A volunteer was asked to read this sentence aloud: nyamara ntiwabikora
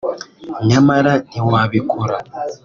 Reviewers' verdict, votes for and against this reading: accepted, 2, 0